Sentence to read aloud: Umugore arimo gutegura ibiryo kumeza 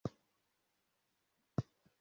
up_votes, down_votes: 0, 2